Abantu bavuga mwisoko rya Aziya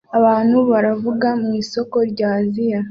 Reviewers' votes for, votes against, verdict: 0, 2, rejected